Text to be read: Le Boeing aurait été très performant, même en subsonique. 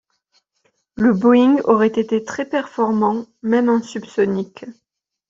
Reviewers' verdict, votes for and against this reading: accepted, 2, 0